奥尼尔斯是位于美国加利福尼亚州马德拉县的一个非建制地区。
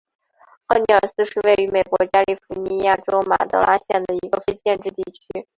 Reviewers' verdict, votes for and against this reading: accepted, 2, 0